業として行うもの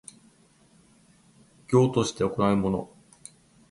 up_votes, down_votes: 0, 2